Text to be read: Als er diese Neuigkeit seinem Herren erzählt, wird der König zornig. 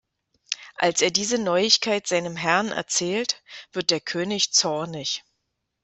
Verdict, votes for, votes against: accepted, 2, 0